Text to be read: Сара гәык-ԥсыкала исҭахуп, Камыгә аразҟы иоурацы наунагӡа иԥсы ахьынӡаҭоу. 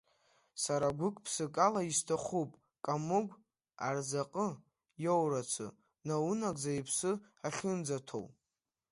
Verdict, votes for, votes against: rejected, 0, 2